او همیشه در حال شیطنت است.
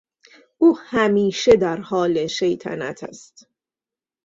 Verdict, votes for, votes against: accepted, 2, 0